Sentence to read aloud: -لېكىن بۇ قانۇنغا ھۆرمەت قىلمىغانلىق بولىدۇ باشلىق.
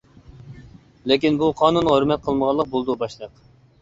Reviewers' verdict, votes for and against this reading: accepted, 2, 0